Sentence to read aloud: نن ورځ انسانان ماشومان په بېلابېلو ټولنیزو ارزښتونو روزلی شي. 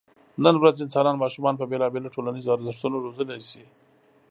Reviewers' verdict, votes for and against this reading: accepted, 2, 0